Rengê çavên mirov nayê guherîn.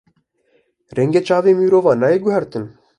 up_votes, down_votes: 1, 2